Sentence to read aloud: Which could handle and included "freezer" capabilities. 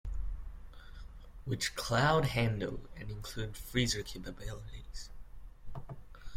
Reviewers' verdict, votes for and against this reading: rejected, 0, 2